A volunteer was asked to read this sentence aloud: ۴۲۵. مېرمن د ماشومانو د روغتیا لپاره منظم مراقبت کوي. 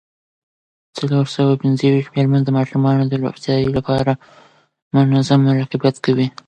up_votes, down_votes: 0, 2